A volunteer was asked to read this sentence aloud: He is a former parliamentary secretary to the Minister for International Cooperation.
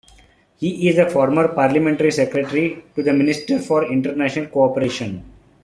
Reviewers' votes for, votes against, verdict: 2, 1, accepted